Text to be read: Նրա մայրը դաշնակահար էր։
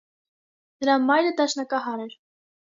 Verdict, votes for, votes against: accepted, 2, 0